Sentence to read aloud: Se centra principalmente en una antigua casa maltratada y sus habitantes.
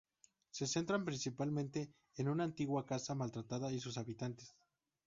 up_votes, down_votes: 0, 2